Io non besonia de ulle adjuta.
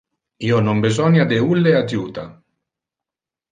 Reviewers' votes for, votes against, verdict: 2, 1, accepted